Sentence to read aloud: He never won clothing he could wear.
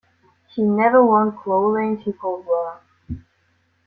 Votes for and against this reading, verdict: 2, 0, accepted